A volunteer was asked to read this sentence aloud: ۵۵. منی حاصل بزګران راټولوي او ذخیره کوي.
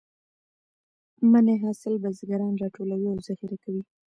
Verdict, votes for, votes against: rejected, 0, 2